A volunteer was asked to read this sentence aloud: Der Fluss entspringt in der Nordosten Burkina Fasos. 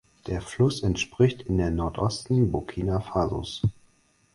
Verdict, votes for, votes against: rejected, 2, 4